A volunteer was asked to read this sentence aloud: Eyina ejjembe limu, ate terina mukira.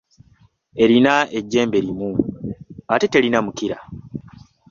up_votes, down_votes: 2, 0